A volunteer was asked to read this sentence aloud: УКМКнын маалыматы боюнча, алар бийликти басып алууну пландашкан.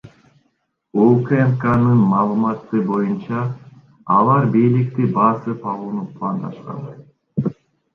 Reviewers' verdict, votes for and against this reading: rejected, 1, 2